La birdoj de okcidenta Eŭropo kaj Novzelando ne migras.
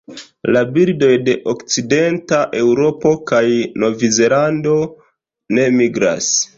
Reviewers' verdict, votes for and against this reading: accepted, 2, 1